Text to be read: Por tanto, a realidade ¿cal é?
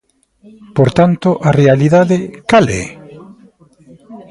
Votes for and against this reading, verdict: 2, 0, accepted